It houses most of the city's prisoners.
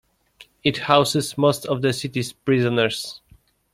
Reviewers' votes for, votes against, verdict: 2, 0, accepted